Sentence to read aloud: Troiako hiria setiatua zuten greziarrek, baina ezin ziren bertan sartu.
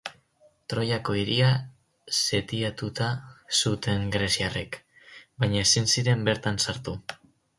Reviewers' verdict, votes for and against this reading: rejected, 0, 4